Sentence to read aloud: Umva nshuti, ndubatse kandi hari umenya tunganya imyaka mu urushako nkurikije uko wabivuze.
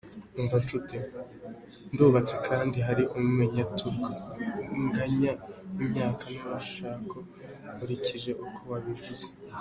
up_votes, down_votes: 0, 2